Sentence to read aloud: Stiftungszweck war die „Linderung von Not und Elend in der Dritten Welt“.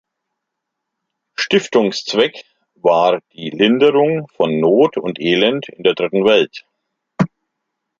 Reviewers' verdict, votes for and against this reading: accepted, 2, 0